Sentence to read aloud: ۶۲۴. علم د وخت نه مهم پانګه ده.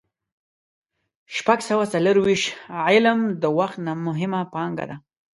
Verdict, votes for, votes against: rejected, 0, 2